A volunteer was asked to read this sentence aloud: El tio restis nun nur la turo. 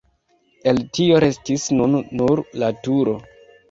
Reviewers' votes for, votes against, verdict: 0, 2, rejected